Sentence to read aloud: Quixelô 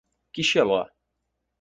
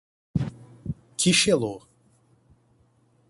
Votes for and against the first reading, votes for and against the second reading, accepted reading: 2, 4, 4, 0, second